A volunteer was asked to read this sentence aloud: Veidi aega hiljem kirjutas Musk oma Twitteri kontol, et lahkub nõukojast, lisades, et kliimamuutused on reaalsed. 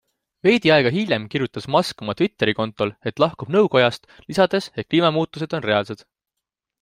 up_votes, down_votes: 2, 0